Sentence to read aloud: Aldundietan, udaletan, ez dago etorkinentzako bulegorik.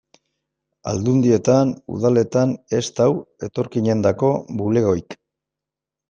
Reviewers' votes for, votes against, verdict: 2, 1, accepted